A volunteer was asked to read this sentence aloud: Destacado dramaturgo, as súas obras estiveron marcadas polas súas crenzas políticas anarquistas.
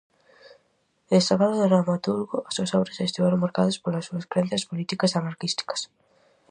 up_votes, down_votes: 0, 4